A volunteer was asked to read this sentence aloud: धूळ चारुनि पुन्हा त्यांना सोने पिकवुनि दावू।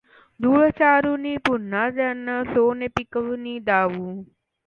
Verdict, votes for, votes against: accepted, 2, 0